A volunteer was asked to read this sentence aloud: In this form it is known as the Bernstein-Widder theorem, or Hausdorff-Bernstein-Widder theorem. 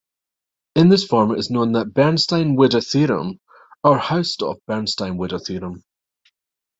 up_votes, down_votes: 0, 2